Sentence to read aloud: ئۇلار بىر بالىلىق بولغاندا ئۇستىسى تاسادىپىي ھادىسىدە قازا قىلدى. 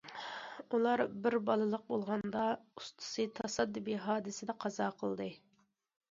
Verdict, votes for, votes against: accepted, 2, 0